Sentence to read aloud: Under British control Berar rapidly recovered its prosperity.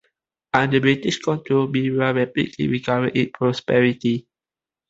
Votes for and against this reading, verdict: 2, 0, accepted